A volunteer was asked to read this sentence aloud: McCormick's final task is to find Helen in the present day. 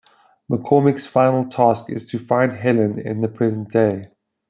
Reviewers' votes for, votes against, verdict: 2, 0, accepted